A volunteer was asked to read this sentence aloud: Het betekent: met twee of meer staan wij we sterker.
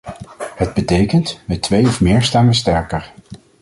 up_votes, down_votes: 2, 0